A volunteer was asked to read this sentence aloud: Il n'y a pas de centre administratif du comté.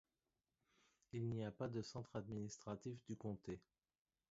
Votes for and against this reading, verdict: 1, 2, rejected